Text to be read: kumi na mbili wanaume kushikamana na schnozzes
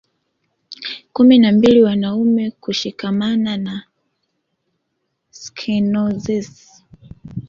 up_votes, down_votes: 1, 2